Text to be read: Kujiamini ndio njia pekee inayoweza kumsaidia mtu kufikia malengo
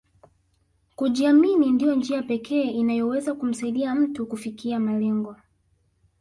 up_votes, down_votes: 1, 2